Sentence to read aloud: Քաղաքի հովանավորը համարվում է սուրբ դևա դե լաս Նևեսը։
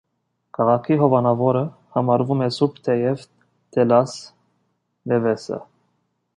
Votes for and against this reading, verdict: 0, 2, rejected